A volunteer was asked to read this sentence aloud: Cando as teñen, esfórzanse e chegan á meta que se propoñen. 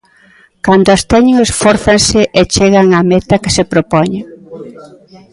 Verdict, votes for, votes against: rejected, 0, 2